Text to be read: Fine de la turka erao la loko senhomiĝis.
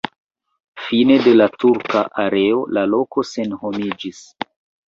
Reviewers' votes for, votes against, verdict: 1, 2, rejected